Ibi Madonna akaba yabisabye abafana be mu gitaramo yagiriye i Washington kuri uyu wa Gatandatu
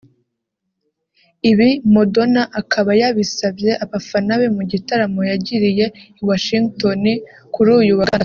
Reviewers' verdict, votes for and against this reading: rejected, 0, 2